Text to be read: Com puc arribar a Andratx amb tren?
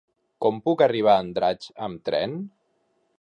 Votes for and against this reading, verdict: 4, 0, accepted